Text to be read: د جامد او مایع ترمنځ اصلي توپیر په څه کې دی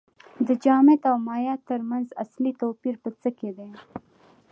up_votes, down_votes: 2, 0